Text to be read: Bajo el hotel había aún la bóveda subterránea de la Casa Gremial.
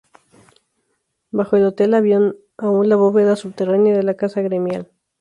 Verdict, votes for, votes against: rejected, 0, 2